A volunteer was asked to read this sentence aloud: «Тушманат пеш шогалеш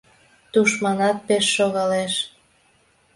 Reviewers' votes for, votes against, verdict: 2, 0, accepted